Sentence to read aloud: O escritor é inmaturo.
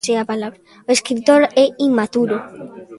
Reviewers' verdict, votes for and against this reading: rejected, 0, 3